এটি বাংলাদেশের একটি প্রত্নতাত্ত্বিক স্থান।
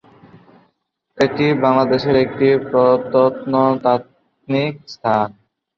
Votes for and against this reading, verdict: 0, 2, rejected